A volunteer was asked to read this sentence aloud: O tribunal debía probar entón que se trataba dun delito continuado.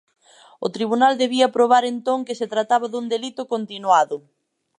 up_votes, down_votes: 2, 0